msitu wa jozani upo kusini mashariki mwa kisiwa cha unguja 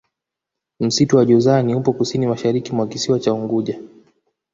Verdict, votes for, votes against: rejected, 1, 2